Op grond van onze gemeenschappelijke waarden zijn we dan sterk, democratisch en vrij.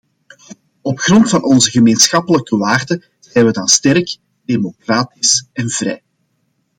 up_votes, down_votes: 2, 0